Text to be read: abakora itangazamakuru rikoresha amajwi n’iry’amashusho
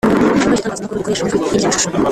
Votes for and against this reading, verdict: 1, 2, rejected